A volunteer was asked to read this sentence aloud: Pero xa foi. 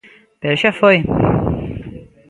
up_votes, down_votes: 2, 0